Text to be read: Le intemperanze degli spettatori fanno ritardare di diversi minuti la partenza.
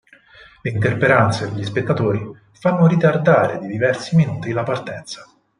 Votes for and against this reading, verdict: 4, 2, accepted